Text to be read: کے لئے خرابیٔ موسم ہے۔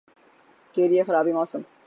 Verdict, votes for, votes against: rejected, 0, 6